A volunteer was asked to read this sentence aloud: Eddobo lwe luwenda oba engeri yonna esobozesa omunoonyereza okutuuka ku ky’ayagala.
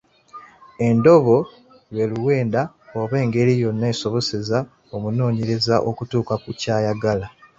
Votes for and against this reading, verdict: 0, 2, rejected